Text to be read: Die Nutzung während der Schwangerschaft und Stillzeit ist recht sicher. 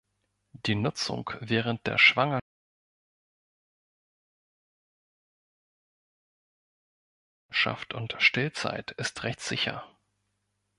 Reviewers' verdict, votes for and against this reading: rejected, 1, 3